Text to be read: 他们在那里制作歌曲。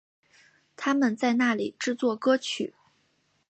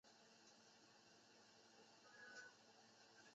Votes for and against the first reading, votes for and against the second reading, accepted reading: 3, 0, 1, 2, first